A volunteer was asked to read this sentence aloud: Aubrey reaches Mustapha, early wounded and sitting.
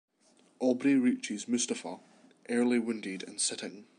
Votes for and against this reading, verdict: 1, 2, rejected